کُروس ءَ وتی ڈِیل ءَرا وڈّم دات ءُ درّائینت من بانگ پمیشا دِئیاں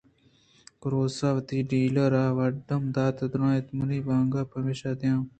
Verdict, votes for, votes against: rejected, 0, 2